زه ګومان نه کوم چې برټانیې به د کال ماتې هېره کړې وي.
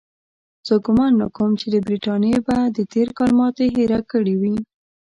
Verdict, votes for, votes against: rejected, 0, 2